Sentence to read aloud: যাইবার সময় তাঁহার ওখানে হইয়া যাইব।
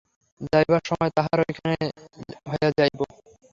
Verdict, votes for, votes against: rejected, 0, 3